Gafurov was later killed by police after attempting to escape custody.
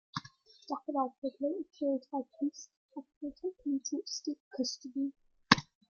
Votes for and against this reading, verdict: 2, 1, accepted